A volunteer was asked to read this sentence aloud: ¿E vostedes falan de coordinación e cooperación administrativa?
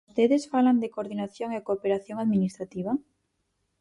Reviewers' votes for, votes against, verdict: 0, 4, rejected